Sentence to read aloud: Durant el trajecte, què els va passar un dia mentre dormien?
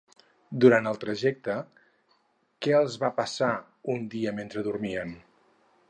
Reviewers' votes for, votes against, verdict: 2, 2, rejected